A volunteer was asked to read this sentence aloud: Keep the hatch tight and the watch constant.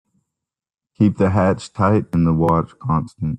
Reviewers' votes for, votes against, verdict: 0, 2, rejected